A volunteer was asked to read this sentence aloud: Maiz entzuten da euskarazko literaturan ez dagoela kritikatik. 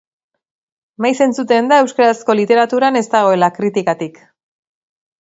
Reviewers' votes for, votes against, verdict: 1, 2, rejected